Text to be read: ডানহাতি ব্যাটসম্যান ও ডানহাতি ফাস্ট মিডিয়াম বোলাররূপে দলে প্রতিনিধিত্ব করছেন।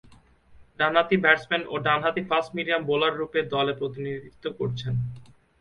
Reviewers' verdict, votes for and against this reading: accepted, 2, 0